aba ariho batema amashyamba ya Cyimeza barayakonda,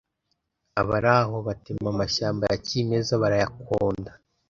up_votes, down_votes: 1, 2